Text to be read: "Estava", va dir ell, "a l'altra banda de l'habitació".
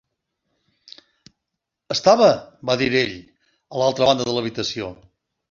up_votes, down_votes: 1, 2